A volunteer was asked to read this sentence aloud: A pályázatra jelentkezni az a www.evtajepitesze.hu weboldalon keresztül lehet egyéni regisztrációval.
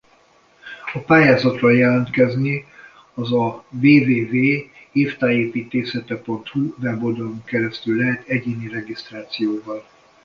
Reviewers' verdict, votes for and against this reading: rejected, 0, 2